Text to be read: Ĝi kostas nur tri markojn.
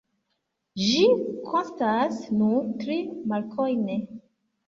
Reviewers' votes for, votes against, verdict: 0, 3, rejected